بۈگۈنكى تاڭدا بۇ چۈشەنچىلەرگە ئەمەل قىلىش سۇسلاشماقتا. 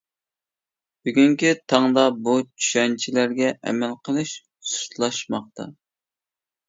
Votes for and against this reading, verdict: 2, 0, accepted